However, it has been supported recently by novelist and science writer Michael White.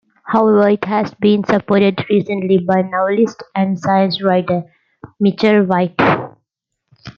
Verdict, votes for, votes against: rejected, 0, 2